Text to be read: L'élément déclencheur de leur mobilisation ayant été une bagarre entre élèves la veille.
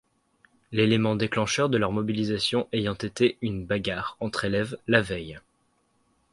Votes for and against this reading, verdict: 2, 0, accepted